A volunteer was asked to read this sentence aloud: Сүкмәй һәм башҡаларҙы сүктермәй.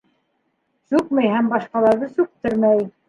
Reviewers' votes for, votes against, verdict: 0, 2, rejected